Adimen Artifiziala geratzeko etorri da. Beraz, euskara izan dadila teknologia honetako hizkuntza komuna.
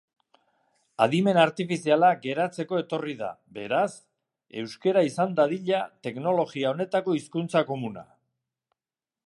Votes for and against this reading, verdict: 1, 2, rejected